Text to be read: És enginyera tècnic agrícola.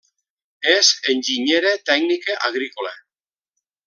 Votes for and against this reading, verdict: 1, 2, rejected